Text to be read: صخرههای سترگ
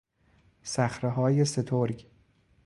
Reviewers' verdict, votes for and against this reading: accepted, 2, 0